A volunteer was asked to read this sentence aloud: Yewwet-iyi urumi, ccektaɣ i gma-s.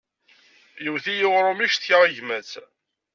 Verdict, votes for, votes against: accepted, 2, 0